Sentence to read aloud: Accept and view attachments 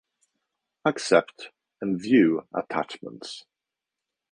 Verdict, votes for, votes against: accepted, 2, 0